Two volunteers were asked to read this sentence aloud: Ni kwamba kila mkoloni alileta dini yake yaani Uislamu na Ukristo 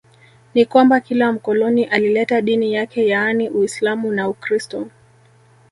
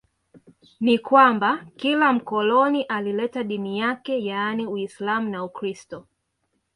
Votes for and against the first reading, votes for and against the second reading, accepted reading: 1, 2, 2, 0, second